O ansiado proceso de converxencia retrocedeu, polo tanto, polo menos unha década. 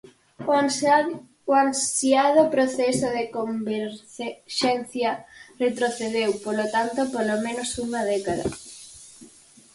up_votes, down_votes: 0, 4